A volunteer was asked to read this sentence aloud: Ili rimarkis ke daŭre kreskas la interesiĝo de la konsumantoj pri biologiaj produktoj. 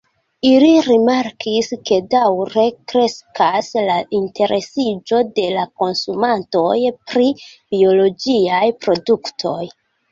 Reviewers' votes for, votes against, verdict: 1, 2, rejected